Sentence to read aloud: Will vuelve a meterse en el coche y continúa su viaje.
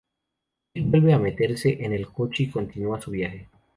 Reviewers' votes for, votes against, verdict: 0, 2, rejected